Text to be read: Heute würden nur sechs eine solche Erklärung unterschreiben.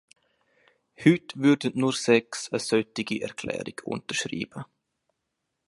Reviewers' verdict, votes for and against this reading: accepted, 2, 1